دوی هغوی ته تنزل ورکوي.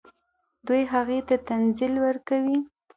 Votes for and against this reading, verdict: 2, 0, accepted